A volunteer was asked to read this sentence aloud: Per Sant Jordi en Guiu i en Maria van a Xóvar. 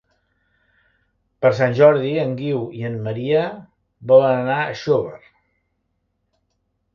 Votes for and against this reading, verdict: 0, 2, rejected